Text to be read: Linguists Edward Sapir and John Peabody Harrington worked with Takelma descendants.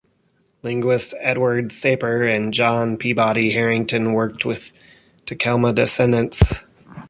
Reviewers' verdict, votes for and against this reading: accepted, 2, 1